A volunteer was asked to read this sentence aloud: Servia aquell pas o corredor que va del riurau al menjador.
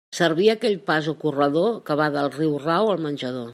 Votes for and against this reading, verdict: 2, 0, accepted